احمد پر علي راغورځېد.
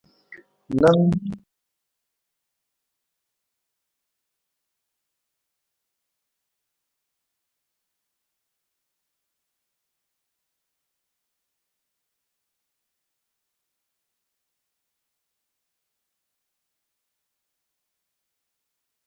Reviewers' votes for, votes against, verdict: 0, 2, rejected